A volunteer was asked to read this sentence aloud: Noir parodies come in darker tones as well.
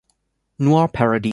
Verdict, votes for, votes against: rejected, 0, 2